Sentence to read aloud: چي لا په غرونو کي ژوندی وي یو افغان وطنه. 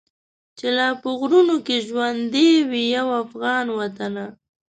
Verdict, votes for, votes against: accepted, 2, 0